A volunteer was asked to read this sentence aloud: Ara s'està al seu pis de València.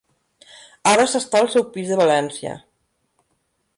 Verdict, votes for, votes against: accepted, 3, 0